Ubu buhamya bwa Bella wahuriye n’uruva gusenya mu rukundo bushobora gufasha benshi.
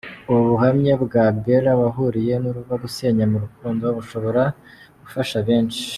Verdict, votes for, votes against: accepted, 2, 0